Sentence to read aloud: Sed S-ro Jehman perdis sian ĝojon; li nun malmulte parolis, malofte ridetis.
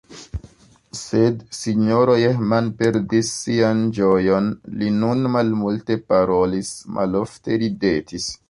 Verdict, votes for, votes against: accepted, 2, 1